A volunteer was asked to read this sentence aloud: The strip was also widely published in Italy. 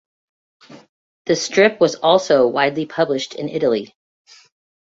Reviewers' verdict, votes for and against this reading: accepted, 2, 0